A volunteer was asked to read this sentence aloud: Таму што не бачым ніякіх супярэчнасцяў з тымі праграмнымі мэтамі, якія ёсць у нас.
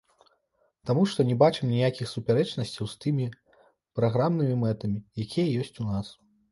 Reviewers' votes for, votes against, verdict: 0, 2, rejected